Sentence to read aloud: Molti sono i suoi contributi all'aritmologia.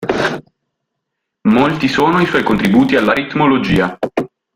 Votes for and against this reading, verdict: 2, 0, accepted